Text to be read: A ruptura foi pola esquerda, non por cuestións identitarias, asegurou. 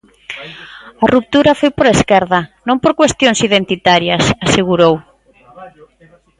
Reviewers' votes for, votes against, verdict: 0, 2, rejected